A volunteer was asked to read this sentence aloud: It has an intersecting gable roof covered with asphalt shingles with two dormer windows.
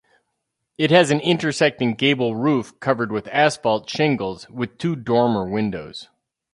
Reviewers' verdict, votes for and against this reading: accepted, 4, 0